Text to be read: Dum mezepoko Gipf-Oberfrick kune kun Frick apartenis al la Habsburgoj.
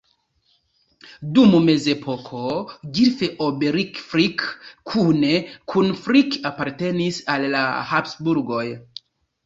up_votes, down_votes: 1, 2